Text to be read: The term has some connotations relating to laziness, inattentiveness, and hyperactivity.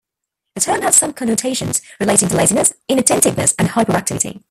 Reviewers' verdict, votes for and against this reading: rejected, 0, 2